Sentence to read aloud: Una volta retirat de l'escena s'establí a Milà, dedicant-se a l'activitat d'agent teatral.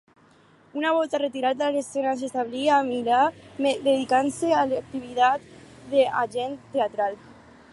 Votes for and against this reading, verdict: 4, 2, accepted